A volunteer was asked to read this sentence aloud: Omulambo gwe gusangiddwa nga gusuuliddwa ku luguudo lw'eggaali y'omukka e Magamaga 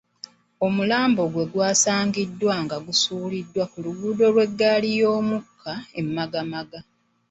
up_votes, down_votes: 1, 2